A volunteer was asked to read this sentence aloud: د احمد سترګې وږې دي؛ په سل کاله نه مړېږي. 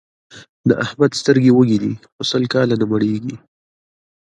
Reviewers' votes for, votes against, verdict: 2, 0, accepted